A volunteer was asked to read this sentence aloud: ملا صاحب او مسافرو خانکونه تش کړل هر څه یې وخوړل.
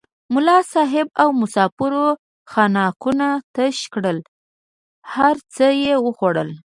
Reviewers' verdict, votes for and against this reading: accepted, 2, 0